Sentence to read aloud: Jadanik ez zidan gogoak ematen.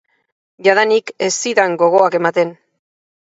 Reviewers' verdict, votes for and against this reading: accepted, 4, 0